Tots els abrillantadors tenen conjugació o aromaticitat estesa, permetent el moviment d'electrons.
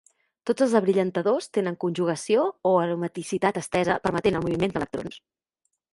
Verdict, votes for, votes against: rejected, 0, 2